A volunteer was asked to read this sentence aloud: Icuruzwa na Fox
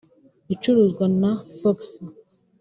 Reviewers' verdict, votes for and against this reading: rejected, 0, 2